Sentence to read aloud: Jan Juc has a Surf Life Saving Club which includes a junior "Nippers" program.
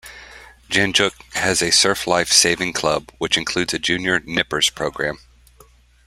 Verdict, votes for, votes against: accepted, 2, 0